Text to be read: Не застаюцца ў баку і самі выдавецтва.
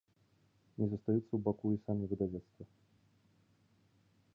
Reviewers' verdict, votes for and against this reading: rejected, 1, 2